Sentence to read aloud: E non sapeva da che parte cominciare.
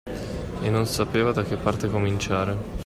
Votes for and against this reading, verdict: 2, 1, accepted